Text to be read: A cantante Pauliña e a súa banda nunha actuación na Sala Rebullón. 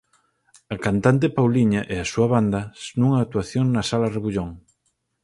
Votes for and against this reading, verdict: 2, 4, rejected